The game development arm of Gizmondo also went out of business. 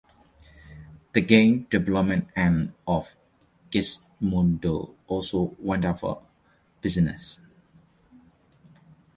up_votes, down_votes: 1, 2